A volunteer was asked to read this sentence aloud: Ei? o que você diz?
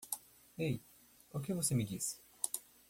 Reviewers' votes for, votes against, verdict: 0, 2, rejected